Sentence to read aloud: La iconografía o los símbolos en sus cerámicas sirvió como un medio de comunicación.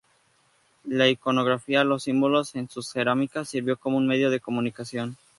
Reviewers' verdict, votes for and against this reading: rejected, 0, 2